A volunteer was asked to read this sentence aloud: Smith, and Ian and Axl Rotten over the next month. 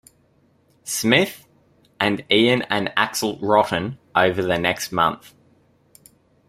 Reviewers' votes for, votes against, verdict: 2, 0, accepted